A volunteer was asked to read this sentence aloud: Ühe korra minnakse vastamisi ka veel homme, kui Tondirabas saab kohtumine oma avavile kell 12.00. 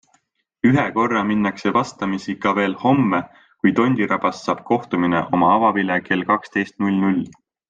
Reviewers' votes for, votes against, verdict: 0, 2, rejected